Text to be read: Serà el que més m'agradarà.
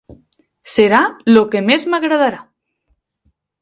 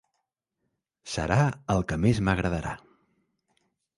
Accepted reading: second